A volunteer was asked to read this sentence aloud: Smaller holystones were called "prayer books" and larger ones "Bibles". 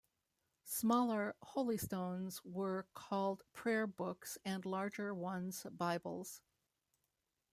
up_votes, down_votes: 2, 0